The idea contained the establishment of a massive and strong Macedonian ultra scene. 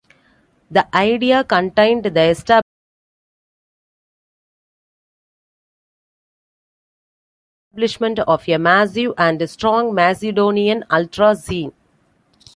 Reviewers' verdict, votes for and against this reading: rejected, 1, 2